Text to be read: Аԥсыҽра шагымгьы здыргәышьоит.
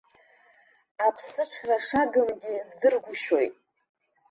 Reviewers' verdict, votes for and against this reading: accepted, 2, 0